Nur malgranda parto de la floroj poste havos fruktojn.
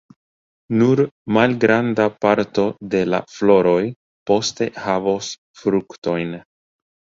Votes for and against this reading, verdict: 3, 1, accepted